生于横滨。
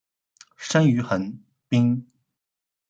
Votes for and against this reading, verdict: 0, 2, rejected